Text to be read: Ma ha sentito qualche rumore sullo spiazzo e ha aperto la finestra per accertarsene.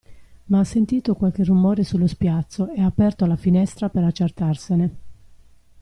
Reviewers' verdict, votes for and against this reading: accepted, 2, 0